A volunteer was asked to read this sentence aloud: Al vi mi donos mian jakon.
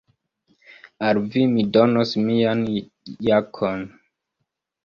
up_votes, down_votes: 2, 0